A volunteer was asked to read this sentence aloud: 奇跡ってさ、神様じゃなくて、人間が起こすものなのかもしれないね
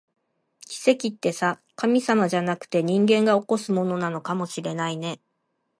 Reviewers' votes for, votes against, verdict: 2, 0, accepted